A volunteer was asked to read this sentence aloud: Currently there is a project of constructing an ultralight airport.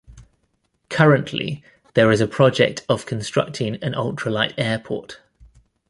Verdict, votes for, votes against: accepted, 2, 0